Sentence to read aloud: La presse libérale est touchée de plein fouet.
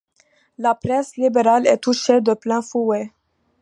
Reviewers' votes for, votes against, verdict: 2, 0, accepted